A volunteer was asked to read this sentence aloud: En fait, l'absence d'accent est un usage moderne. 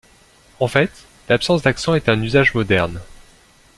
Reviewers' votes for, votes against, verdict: 2, 0, accepted